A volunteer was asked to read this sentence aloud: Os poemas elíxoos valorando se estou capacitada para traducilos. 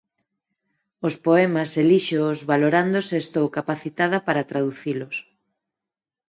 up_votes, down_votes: 4, 0